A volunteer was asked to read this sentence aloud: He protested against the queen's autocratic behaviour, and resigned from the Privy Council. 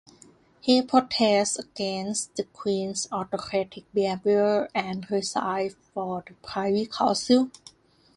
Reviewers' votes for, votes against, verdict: 0, 2, rejected